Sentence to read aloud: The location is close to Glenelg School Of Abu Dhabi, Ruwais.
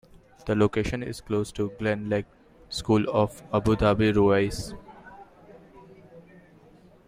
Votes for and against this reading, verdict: 1, 2, rejected